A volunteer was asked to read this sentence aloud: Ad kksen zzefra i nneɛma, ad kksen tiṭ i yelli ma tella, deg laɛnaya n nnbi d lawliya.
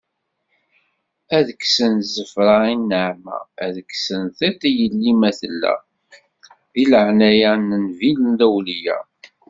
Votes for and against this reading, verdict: 1, 2, rejected